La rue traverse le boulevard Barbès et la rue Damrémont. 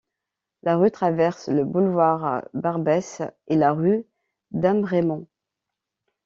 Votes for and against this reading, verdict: 2, 0, accepted